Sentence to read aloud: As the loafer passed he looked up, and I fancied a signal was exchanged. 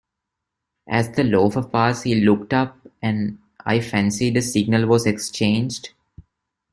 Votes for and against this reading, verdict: 1, 2, rejected